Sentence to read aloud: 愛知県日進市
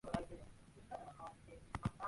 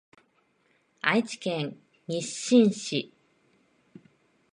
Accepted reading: second